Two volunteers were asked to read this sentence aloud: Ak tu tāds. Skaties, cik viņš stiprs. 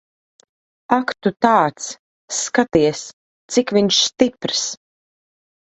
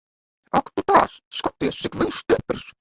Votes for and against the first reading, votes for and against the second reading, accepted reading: 2, 0, 0, 2, first